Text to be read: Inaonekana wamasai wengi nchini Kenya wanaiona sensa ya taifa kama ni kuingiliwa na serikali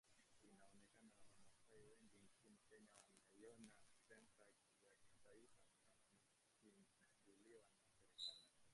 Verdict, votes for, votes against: rejected, 0, 3